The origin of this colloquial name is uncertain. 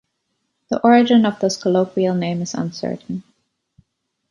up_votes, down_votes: 1, 2